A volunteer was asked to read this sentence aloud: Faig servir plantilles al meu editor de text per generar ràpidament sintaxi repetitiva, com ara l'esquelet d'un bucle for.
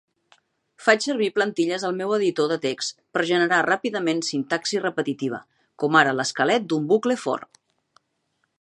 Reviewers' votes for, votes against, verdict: 2, 0, accepted